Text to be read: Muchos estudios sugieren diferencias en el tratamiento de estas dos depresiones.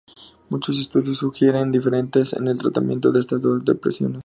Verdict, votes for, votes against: rejected, 0, 2